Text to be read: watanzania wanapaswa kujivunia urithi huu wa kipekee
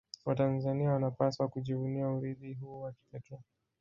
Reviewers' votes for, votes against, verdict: 1, 2, rejected